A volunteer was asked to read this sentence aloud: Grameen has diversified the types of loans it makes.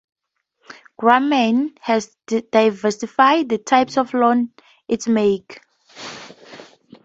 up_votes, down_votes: 0, 2